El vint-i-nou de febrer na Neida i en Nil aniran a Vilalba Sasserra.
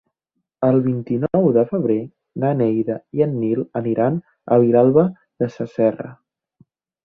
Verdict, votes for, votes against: rejected, 2, 3